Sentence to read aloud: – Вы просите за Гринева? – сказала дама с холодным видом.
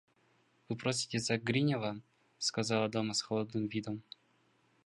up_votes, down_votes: 1, 2